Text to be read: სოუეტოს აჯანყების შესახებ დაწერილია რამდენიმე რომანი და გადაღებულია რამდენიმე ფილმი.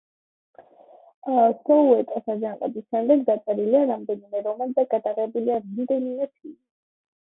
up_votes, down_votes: 1, 2